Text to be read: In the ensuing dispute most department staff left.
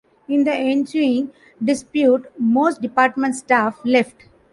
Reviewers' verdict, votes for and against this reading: accepted, 2, 1